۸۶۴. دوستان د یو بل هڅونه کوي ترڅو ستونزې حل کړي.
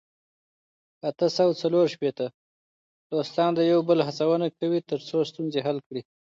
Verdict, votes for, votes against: rejected, 0, 2